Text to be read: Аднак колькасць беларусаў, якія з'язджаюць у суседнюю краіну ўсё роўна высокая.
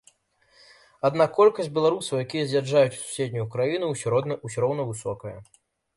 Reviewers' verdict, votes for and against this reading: rejected, 0, 2